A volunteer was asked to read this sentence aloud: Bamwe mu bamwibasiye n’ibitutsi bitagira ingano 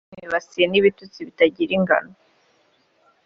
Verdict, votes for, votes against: rejected, 1, 2